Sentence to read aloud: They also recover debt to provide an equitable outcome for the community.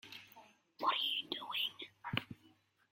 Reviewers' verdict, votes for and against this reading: rejected, 0, 2